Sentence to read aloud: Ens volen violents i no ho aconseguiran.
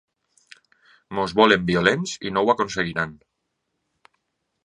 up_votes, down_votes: 2, 1